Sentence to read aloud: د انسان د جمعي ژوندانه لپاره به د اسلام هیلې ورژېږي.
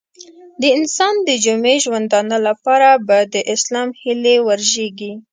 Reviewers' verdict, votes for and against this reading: accepted, 2, 0